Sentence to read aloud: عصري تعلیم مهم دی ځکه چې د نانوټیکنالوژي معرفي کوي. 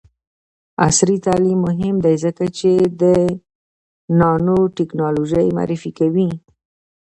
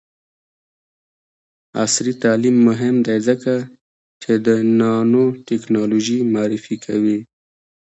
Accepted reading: second